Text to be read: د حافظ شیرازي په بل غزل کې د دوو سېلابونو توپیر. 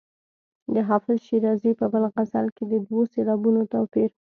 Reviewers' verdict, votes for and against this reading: accepted, 2, 0